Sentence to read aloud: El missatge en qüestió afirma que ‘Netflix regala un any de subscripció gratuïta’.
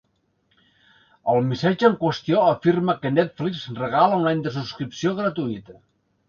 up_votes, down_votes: 2, 0